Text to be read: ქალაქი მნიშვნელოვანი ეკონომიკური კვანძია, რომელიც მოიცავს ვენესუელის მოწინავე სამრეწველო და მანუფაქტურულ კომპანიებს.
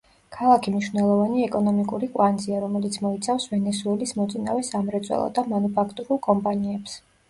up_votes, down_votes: 0, 2